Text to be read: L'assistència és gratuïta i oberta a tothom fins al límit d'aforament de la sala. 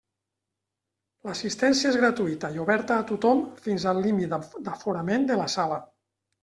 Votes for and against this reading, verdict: 1, 2, rejected